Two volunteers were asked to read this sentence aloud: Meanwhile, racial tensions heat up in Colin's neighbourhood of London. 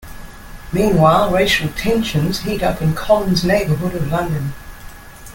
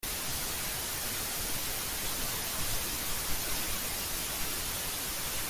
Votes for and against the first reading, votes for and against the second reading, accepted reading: 2, 0, 0, 2, first